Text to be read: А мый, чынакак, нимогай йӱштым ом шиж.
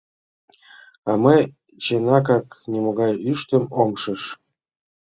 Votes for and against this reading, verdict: 1, 2, rejected